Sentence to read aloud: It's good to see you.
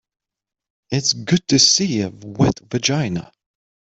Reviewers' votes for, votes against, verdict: 0, 3, rejected